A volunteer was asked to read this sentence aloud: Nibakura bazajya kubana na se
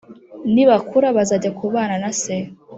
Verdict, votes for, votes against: accepted, 2, 0